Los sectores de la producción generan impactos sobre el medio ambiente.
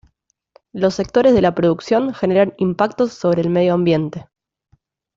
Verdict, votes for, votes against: accepted, 2, 0